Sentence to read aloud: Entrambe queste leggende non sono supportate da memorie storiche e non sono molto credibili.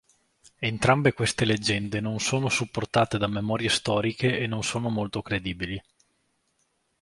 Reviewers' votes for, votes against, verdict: 2, 0, accepted